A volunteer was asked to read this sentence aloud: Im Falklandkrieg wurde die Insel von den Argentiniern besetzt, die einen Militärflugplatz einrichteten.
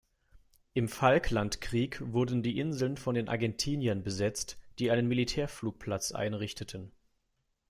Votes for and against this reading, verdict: 0, 2, rejected